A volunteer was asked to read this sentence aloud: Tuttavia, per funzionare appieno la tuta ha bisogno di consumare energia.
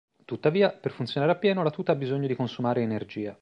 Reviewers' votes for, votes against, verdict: 2, 0, accepted